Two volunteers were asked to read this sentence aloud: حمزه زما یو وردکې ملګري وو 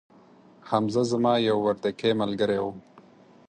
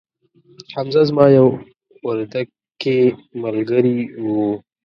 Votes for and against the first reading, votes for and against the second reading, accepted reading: 4, 0, 0, 2, first